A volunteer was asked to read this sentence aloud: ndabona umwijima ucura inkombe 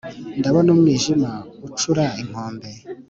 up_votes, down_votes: 3, 0